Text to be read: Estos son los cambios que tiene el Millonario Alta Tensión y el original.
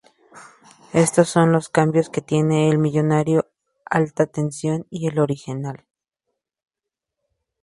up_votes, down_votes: 2, 0